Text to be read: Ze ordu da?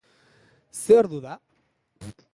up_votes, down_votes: 4, 0